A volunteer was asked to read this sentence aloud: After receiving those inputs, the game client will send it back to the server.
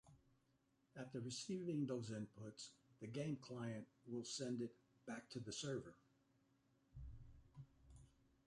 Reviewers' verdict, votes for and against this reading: accepted, 2, 0